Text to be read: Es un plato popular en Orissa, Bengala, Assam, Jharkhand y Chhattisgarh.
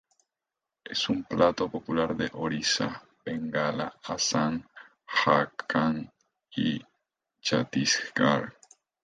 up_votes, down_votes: 0, 2